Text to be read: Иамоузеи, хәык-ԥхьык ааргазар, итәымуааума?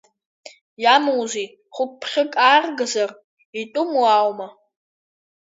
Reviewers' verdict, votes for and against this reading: accepted, 2, 1